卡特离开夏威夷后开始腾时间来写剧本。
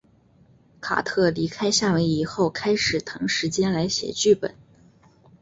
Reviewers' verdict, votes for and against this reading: accepted, 4, 0